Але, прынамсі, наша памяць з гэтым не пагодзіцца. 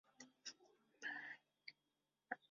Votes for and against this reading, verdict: 0, 2, rejected